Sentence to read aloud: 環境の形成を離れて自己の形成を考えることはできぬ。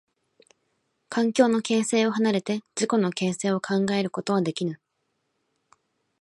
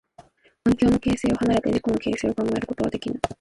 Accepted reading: first